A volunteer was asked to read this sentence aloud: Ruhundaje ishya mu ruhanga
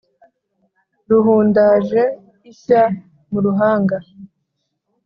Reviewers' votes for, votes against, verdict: 2, 0, accepted